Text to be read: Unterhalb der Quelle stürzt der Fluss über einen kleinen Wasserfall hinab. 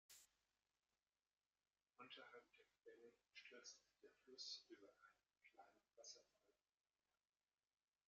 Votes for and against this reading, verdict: 0, 2, rejected